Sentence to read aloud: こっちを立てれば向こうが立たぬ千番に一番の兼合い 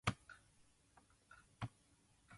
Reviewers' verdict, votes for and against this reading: rejected, 1, 2